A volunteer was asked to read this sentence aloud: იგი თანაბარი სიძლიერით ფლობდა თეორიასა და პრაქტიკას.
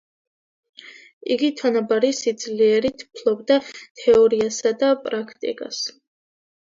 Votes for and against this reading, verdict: 2, 0, accepted